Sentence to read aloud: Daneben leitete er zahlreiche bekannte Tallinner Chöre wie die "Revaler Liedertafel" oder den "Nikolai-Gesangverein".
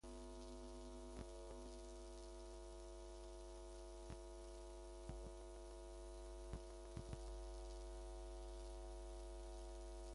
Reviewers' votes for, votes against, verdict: 0, 2, rejected